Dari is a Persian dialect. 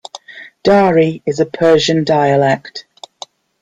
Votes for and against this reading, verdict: 2, 0, accepted